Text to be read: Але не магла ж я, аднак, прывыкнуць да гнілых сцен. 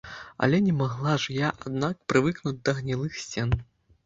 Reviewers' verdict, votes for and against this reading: accepted, 3, 0